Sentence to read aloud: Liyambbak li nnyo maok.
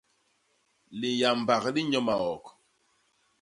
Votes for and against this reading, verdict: 1, 2, rejected